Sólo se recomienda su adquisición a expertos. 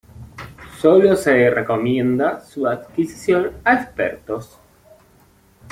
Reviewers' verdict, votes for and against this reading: accepted, 2, 0